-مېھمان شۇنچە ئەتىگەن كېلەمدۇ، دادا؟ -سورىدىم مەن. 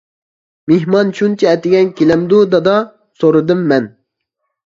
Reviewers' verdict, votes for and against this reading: accepted, 2, 0